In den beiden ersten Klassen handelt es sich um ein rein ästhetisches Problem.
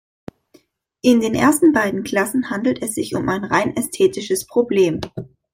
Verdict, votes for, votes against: rejected, 1, 2